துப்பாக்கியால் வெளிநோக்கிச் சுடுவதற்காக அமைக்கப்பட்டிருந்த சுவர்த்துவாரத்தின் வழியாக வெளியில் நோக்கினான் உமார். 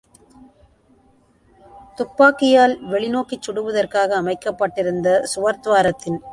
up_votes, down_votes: 0, 2